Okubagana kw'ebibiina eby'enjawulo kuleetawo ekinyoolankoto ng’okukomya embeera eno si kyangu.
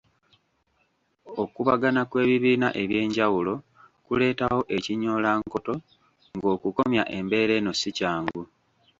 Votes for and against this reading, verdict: 1, 2, rejected